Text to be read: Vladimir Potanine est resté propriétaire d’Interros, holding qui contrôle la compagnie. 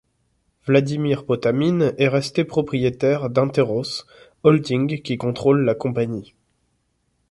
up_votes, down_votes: 0, 2